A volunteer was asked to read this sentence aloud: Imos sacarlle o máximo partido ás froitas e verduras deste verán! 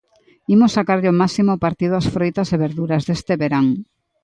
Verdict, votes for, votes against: accepted, 2, 0